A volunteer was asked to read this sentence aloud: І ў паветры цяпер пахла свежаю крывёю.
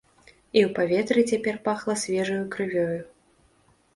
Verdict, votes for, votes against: accepted, 2, 0